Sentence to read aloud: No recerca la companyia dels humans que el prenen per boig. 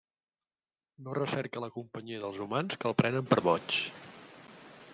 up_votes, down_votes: 3, 0